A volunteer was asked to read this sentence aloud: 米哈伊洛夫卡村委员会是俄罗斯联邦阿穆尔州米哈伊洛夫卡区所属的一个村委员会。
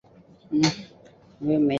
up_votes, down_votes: 1, 2